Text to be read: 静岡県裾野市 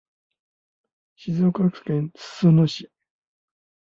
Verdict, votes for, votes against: accepted, 2, 0